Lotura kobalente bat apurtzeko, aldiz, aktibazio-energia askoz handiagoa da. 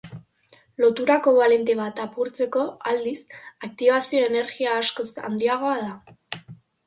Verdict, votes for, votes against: accepted, 2, 0